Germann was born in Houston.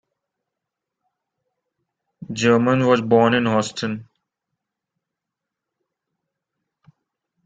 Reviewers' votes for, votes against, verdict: 2, 1, accepted